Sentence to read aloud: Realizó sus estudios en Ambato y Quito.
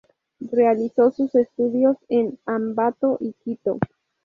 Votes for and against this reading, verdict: 2, 0, accepted